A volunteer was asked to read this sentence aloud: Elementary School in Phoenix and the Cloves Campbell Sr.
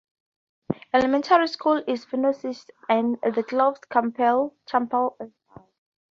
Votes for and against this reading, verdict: 0, 4, rejected